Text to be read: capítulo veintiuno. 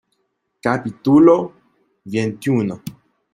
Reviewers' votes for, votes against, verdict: 0, 2, rejected